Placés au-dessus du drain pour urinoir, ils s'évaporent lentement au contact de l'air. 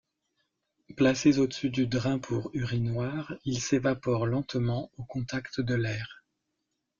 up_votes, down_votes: 2, 0